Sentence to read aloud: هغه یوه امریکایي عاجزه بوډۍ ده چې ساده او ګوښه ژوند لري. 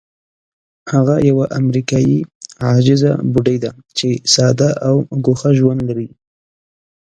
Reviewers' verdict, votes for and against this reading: accepted, 2, 0